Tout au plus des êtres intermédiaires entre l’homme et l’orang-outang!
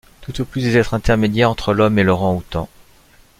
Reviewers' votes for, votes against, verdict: 2, 0, accepted